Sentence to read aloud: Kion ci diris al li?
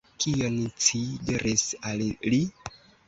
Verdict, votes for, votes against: accepted, 2, 1